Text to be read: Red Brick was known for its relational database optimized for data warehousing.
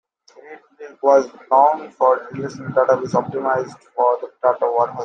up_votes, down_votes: 0, 2